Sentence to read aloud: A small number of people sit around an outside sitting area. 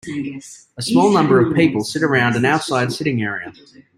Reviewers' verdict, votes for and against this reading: rejected, 1, 2